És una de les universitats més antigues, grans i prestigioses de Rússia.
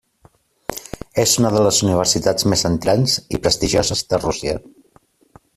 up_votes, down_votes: 0, 2